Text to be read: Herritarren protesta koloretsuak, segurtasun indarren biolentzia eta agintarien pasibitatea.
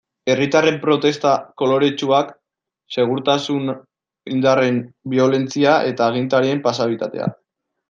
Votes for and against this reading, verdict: 1, 2, rejected